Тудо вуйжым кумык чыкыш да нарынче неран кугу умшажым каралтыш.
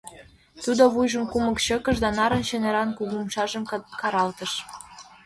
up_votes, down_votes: 1, 2